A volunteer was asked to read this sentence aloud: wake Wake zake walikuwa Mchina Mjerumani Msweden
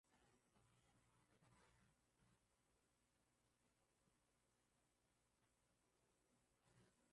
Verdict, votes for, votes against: rejected, 0, 2